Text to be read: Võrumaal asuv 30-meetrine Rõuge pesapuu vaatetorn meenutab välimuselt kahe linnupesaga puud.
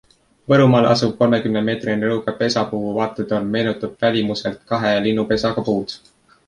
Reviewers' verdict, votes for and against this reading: rejected, 0, 2